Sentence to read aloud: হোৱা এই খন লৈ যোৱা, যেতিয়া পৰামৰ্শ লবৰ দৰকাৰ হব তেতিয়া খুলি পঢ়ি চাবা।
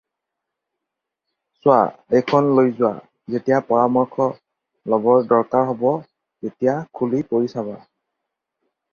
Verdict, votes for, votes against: rejected, 0, 4